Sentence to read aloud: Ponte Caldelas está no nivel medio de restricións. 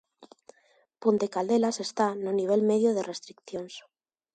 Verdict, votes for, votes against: rejected, 0, 2